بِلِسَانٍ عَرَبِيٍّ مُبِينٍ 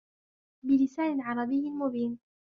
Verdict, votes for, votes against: rejected, 1, 2